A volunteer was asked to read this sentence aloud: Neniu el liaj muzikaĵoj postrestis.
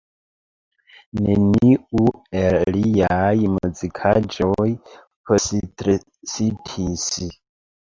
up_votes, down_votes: 0, 2